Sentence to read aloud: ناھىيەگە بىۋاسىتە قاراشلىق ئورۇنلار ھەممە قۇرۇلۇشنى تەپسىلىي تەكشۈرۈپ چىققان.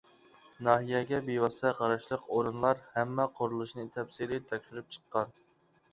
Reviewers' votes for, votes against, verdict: 2, 0, accepted